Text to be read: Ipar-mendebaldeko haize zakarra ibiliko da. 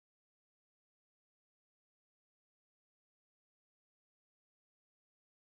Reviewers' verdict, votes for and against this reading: rejected, 0, 3